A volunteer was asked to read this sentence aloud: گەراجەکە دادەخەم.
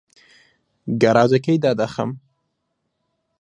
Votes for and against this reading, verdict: 0, 2, rejected